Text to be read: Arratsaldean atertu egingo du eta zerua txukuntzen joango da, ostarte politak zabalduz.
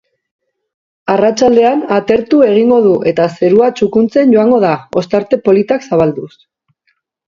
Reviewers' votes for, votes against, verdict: 4, 0, accepted